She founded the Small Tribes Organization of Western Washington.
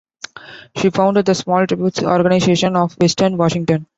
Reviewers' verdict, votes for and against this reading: rejected, 0, 3